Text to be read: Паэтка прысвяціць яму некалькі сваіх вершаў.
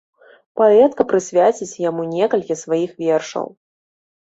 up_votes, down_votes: 0, 2